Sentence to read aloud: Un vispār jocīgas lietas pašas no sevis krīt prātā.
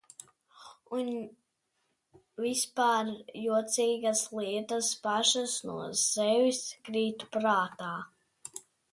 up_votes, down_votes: 1, 2